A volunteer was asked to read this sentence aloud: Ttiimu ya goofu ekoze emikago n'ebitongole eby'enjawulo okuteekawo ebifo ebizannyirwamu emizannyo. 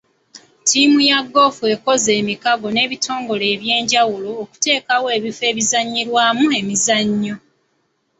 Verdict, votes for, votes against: accepted, 2, 0